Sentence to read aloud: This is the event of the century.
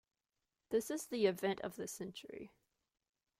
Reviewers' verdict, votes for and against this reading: accepted, 2, 0